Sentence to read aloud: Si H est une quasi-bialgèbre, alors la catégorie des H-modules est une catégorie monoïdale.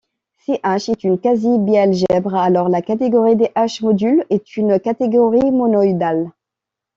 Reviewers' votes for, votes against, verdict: 2, 0, accepted